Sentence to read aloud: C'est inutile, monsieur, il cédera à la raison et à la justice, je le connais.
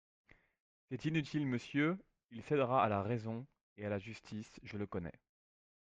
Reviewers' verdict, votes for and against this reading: accepted, 2, 0